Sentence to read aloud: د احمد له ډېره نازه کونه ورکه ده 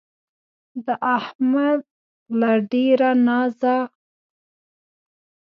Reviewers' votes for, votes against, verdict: 0, 2, rejected